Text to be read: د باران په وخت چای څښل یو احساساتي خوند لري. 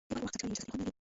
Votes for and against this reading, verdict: 0, 2, rejected